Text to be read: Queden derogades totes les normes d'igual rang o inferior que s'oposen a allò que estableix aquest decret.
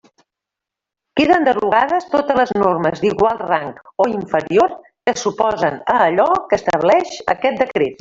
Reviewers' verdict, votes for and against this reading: rejected, 1, 2